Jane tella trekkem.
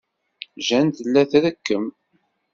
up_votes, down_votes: 2, 0